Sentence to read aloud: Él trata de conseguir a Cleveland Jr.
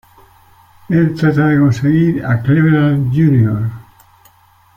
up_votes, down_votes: 2, 1